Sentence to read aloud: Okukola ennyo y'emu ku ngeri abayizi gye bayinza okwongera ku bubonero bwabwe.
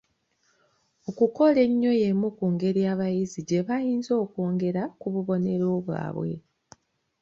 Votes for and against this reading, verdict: 2, 0, accepted